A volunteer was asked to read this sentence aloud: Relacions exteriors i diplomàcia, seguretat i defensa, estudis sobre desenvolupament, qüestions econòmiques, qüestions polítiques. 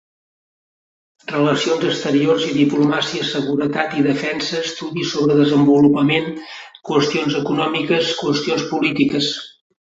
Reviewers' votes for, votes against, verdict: 2, 0, accepted